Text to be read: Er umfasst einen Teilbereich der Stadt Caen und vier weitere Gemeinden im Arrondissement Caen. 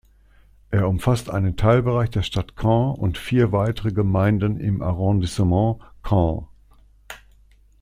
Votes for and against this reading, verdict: 2, 0, accepted